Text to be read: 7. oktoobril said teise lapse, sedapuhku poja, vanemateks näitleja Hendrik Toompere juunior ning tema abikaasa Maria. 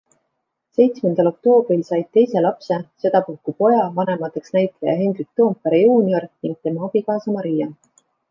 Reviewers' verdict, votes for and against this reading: rejected, 0, 2